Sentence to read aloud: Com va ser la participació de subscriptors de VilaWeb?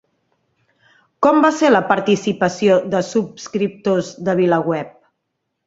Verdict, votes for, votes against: accepted, 3, 0